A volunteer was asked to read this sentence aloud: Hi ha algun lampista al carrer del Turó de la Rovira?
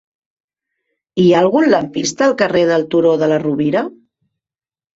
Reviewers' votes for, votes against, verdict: 1, 2, rejected